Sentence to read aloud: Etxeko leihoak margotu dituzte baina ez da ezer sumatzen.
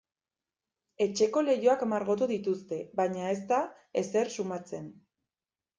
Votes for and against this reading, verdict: 2, 0, accepted